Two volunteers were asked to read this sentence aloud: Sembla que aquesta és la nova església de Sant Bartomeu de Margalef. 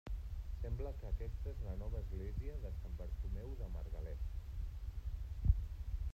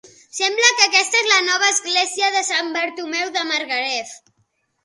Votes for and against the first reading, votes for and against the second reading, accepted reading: 1, 2, 3, 0, second